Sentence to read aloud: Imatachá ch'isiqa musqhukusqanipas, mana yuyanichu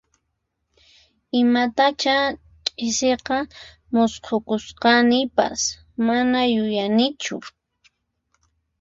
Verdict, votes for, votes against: rejected, 2, 4